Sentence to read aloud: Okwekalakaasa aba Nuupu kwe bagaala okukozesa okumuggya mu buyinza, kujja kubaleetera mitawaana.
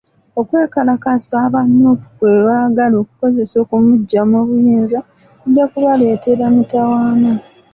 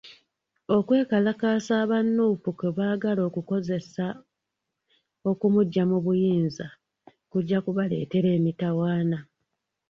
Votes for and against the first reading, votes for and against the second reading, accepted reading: 2, 1, 1, 2, first